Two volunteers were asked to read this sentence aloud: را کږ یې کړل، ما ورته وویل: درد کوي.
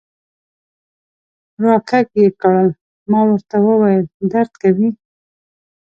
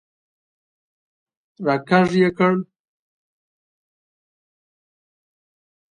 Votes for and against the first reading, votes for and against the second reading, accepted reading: 2, 0, 0, 2, first